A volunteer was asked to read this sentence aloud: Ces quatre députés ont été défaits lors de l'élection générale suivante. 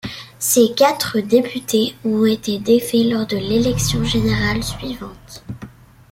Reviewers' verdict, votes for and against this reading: accepted, 2, 0